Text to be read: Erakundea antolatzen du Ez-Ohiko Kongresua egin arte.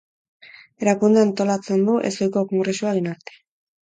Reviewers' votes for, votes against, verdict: 2, 2, rejected